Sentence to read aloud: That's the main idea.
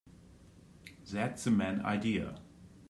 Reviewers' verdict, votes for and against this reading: rejected, 1, 2